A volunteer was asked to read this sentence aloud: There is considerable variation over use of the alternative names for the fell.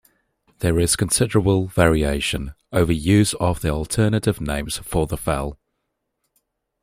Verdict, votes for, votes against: accepted, 2, 0